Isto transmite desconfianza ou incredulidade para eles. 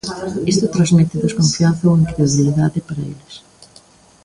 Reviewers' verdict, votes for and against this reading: rejected, 0, 2